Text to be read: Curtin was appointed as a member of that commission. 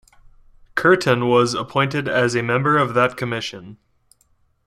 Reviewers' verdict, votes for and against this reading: accepted, 2, 0